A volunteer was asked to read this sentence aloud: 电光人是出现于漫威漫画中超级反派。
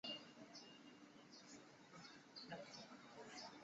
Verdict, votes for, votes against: rejected, 0, 3